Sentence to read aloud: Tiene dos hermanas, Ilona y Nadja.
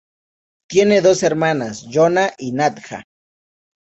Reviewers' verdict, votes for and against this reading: accepted, 2, 0